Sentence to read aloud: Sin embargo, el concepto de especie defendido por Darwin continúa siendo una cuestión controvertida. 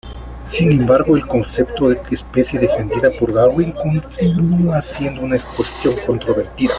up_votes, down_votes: 0, 3